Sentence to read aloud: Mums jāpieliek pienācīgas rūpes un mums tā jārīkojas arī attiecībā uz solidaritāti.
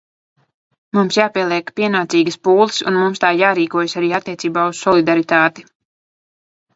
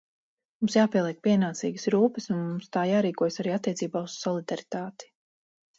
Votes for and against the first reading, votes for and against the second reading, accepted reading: 1, 2, 4, 0, second